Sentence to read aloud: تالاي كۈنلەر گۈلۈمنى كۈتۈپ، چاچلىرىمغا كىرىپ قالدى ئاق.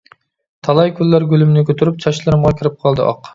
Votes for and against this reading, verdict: 0, 2, rejected